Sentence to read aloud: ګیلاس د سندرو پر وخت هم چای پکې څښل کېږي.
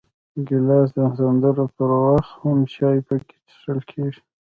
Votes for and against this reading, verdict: 1, 2, rejected